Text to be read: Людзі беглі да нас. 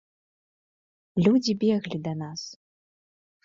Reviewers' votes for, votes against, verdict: 2, 0, accepted